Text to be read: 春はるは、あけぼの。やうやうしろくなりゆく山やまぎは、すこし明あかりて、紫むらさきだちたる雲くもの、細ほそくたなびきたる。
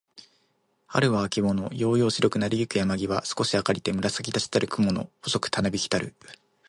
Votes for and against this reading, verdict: 1, 2, rejected